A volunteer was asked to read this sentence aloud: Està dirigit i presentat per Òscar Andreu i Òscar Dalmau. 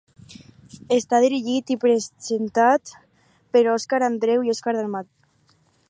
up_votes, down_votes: 2, 4